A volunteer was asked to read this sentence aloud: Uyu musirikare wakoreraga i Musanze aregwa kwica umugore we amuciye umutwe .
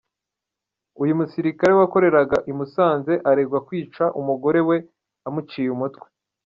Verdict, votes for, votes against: accepted, 2, 0